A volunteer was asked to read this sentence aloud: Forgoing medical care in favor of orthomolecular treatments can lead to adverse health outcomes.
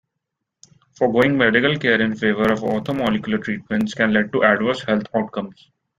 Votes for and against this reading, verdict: 1, 2, rejected